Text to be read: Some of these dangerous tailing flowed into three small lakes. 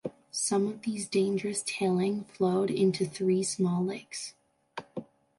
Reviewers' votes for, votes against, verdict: 2, 0, accepted